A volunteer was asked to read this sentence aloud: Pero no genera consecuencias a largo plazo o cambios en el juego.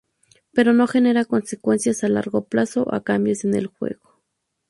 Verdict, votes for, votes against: rejected, 2, 2